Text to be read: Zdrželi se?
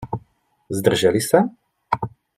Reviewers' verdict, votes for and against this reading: accepted, 2, 0